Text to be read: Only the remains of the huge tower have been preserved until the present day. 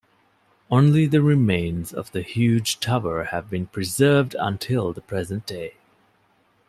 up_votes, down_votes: 2, 0